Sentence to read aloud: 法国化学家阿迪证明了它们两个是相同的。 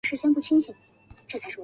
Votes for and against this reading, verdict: 0, 3, rejected